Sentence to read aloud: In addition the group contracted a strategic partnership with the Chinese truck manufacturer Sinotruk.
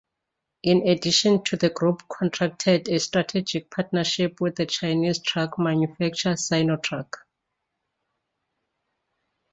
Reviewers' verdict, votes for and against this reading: rejected, 1, 2